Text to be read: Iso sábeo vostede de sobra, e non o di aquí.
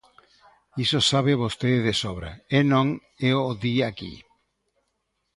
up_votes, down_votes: 0, 2